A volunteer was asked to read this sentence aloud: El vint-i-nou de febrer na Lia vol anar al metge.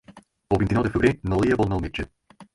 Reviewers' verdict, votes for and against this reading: rejected, 4, 6